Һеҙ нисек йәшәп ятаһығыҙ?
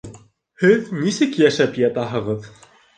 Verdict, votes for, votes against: rejected, 1, 2